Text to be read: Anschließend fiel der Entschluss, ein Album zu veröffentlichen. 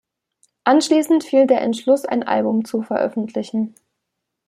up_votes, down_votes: 2, 0